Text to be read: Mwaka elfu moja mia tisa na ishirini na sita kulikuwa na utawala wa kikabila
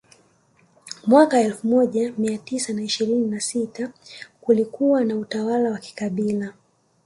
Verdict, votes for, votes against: rejected, 1, 2